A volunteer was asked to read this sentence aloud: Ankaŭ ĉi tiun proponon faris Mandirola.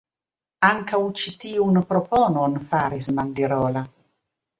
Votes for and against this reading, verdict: 3, 0, accepted